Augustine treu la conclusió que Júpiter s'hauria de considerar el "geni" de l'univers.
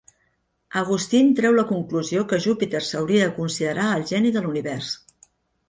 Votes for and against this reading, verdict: 2, 0, accepted